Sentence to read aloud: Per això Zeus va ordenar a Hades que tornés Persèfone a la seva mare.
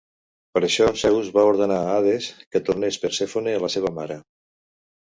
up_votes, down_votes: 1, 2